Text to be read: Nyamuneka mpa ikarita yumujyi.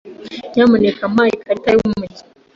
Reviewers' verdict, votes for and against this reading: accepted, 2, 0